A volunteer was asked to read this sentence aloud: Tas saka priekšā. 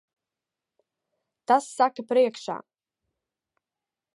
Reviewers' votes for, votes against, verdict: 2, 0, accepted